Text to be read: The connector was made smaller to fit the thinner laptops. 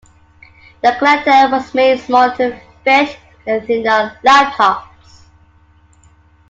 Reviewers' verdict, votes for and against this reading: rejected, 1, 2